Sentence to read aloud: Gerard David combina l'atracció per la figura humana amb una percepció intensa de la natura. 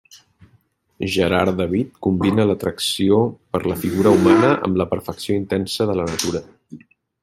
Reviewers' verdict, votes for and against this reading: rejected, 1, 2